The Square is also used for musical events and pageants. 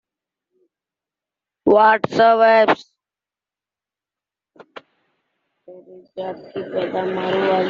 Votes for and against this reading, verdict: 0, 2, rejected